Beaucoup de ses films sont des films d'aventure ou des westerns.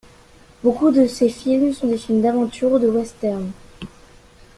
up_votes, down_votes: 3, 2